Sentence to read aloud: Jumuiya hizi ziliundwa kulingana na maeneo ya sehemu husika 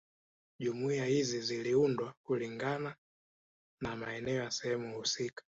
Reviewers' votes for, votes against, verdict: 4, 1, accepted